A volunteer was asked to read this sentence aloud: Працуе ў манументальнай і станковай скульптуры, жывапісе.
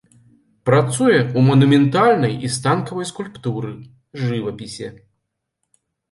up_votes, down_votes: 0, 2